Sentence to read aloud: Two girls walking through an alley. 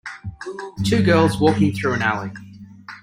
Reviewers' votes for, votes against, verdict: 1, 2, rejected